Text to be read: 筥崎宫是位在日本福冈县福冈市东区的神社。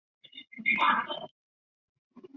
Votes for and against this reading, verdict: 0, 2, rejected